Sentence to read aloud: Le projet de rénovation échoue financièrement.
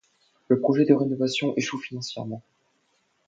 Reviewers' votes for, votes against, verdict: 2, 0, accepted